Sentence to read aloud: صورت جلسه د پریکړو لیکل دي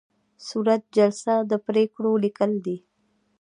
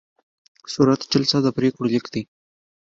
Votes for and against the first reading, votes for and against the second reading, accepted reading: 1, 2, 2, 0, second